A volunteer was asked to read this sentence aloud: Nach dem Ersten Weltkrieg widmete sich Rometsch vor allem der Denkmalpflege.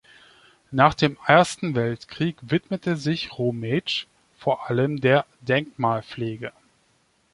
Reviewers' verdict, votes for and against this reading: accepted, 2, 0